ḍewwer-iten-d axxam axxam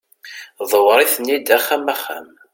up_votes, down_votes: 2, 0